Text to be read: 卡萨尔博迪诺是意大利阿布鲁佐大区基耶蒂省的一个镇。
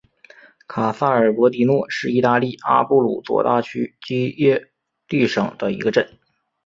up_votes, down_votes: 4, 1